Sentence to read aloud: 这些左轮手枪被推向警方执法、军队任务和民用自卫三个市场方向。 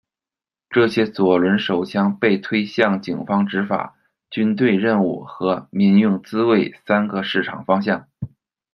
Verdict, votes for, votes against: accepted, 2, 0